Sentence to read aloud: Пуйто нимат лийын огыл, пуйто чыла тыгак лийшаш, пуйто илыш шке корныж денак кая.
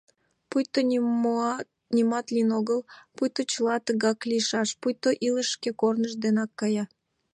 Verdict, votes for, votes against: rejected, 1, 2